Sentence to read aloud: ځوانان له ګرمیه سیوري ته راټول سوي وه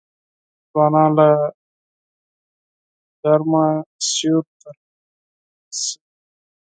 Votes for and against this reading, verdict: 0, 4, rejected